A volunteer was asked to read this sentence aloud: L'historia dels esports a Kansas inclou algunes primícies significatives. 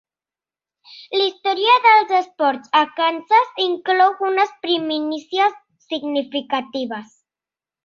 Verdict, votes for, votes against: rejected, 1, 2